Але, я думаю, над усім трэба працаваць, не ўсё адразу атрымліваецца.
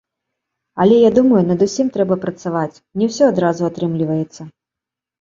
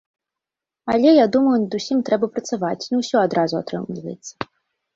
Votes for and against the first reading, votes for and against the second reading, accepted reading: 2, 0, 0, 2, first